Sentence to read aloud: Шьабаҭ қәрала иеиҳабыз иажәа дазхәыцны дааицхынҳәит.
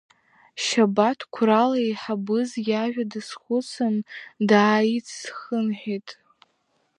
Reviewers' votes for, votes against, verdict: 3, 1, accepted